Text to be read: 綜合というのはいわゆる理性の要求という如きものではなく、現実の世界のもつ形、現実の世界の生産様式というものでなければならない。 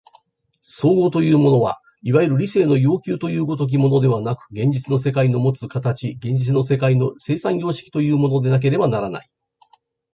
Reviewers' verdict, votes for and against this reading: rejected, 0, 2